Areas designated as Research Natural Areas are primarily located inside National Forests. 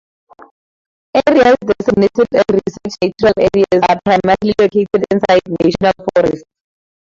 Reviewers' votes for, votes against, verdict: 0, 4, rejected